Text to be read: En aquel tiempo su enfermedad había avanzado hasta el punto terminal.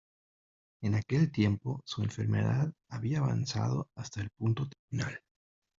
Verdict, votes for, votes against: rejected, 1, 2